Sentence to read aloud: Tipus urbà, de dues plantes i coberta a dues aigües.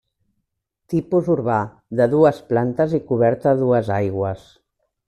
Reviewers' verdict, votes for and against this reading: accepted, 3, 0